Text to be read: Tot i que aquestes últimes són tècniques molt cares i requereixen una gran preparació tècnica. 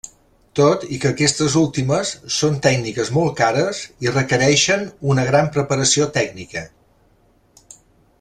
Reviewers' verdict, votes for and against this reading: accepted, 3, 0